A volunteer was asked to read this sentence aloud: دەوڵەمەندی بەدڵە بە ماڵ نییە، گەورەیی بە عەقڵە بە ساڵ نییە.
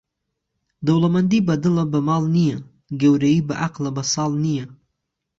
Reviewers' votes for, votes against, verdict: 3, 0, accepted